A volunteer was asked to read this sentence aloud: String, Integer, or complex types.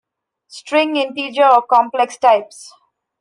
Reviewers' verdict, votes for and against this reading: accepted, 2, 0